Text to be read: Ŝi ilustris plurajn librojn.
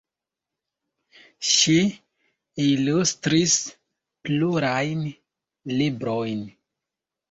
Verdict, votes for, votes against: accepted, 2, 1